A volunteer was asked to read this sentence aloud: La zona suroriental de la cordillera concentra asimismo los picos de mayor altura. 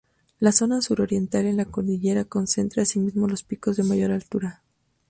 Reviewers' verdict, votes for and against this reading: rejected, 0, 2